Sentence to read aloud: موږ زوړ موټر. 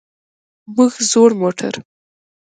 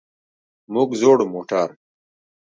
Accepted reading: second